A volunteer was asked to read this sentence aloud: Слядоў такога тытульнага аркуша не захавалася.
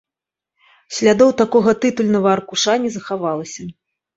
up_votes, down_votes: 1, 2